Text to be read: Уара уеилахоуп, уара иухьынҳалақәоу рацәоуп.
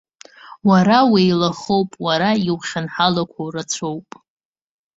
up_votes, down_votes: 2, 0